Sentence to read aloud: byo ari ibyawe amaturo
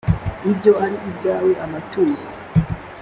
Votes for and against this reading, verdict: 2, 0, accepted